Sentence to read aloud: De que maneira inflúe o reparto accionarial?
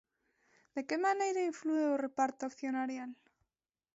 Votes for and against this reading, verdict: 1, 2, rejected